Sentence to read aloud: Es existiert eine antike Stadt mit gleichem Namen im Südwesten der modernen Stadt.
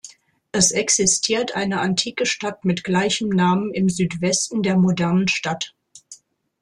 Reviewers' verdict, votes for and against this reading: accepted, 2, 0